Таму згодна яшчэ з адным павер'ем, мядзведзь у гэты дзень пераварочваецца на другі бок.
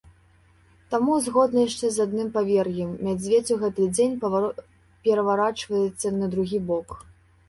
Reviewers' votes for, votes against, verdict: 1, 2, rejected